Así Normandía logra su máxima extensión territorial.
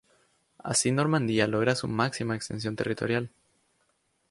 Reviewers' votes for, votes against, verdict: 2, 0, accepted